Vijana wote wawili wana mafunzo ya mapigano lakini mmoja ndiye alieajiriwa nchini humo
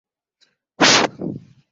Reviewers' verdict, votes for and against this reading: rejected, 2, 12